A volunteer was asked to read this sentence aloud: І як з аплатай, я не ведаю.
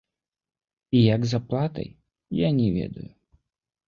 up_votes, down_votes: 2, 1